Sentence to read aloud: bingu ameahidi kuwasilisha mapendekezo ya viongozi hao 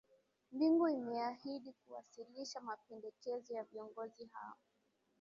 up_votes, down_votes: 0, 2